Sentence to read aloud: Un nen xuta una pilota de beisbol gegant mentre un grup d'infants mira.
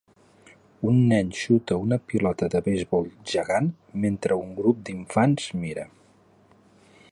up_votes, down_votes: 9, 1